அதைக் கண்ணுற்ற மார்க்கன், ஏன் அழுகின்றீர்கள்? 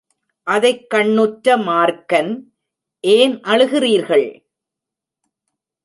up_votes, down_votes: 1, 2